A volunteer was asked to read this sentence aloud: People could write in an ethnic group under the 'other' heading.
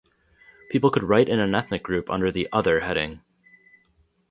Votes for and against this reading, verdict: 0, 2, rejected